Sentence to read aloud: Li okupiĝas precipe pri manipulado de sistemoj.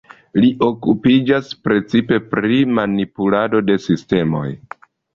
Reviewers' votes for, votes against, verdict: 2, 0, accepted